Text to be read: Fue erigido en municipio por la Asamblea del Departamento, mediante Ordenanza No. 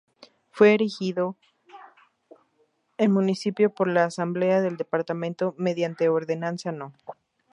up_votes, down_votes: 2, 0